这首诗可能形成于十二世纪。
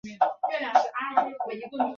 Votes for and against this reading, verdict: 0, 2, rejected